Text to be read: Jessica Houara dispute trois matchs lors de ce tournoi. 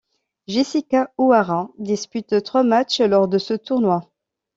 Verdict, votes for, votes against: accepted, 2, 0